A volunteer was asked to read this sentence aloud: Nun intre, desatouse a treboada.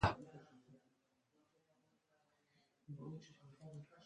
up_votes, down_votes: 0, 2